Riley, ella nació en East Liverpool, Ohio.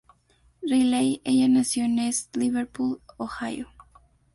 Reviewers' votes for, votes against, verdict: 2, 0, accepted